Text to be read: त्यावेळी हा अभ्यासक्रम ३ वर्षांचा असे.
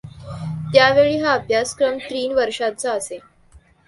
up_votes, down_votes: 0, 2